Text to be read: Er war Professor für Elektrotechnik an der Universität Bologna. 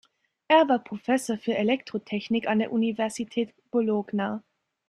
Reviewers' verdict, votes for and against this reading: rejected, 0, 2